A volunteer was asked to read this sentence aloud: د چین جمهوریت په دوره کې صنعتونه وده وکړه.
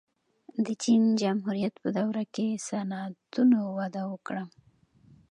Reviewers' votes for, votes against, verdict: 2, 0, accepted